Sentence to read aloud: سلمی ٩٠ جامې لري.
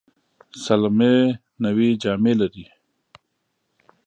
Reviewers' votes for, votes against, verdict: 0, 2, rejected